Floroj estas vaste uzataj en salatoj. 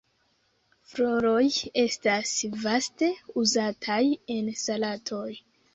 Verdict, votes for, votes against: accepted, 2, 0